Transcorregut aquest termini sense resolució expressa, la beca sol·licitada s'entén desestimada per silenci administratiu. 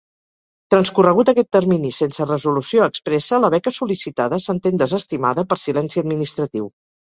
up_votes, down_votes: 4, 0